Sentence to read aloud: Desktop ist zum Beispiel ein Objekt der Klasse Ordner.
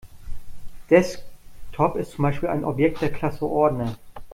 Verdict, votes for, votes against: rejected, 0, 2